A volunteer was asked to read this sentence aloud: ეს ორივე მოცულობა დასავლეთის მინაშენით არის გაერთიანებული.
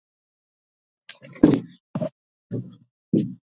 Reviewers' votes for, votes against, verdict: 0, 2, rejected